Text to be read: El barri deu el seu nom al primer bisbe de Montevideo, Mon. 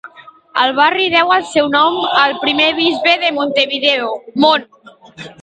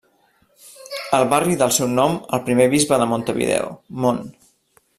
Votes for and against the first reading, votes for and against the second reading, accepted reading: 2, 0, 1, 2, first